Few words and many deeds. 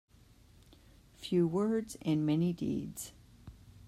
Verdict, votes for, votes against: accepted, 2, 0